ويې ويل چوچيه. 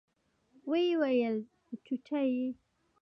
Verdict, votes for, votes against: accepted, 2, 1